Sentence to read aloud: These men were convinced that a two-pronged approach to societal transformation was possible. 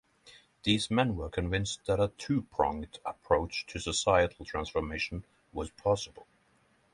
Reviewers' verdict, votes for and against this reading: accepted, 3, 0